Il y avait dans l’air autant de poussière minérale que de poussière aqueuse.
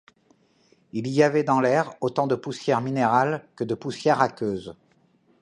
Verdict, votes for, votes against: accepted, 2, 0